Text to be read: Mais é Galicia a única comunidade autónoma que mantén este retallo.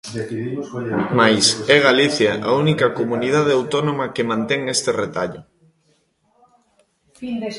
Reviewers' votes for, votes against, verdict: 0, 2, rejected